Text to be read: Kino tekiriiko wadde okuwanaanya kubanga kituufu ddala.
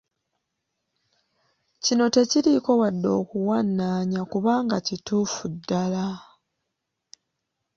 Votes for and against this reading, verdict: 2, 0, accepted